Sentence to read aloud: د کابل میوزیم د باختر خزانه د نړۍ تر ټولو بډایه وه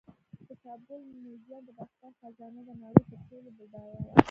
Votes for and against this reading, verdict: 1, 2, rejected